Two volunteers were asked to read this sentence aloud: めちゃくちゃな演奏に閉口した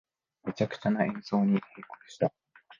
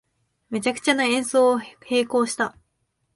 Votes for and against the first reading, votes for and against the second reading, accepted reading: 1, 2, 3, 2, second